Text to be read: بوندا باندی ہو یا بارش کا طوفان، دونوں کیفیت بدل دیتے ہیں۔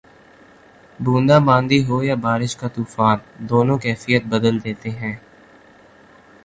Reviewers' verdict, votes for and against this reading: accepted, 2, 0